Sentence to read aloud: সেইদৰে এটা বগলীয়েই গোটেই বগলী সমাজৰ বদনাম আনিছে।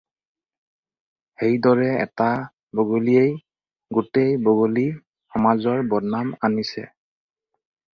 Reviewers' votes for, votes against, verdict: 4, 0, accepted